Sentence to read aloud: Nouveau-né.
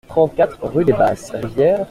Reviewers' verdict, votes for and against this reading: rejected, 0, 2